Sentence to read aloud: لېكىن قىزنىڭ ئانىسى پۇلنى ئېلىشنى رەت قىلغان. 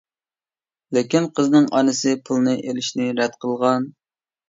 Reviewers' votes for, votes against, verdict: 2, 0, accepted